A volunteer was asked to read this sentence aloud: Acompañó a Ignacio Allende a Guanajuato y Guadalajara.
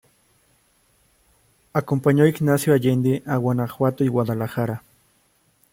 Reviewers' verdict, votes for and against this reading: accepted, 2, 0